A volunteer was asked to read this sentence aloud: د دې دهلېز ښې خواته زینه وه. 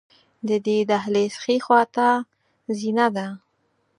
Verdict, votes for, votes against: rejected, 2, 4